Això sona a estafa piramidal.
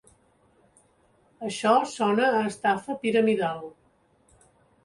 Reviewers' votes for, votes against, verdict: 4, 0, accepted